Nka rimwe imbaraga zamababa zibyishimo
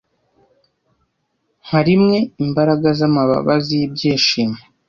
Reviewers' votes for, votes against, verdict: 2, 0, accepted